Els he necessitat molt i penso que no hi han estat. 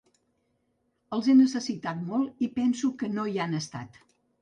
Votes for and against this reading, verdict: 2, 1, accepted